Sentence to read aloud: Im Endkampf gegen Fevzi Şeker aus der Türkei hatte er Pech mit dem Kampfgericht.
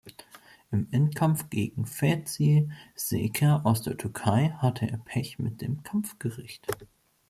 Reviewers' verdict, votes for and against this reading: accepted, 2, 1